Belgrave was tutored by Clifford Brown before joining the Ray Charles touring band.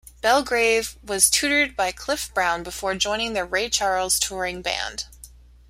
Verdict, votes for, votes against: rejected, 0, 2